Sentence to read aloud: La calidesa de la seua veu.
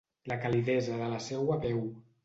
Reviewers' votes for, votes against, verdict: 2, 0, accepted